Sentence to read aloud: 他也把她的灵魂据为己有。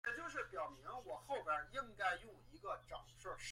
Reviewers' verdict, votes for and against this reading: rejected, 0, 2